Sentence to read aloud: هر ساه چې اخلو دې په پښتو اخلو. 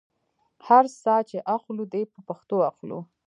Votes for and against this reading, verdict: 0, 2, rejected